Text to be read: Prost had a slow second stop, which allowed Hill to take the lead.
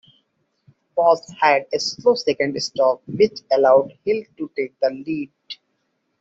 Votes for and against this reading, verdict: 1, 2, rejected